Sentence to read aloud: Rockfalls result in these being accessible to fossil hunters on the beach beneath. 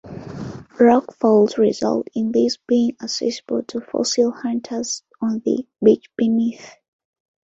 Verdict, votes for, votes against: accepted, 2, 0